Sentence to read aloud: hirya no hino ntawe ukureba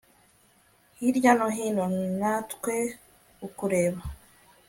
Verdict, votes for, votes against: rejected, 1, 2